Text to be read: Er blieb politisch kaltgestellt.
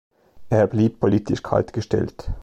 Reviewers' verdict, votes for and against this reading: accepted, 2, 0